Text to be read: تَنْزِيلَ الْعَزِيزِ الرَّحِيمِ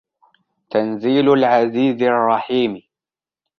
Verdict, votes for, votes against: accepted, 2, 0